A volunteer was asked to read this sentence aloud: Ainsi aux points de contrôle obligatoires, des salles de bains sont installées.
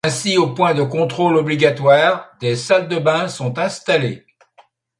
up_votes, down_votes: 2, 0